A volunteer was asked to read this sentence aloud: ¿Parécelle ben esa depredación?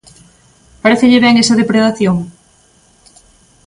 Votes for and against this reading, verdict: 2, 0, accepted